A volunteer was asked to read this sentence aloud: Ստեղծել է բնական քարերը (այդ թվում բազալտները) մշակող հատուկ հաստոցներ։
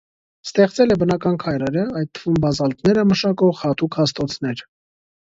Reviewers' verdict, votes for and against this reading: rejected, 0, 2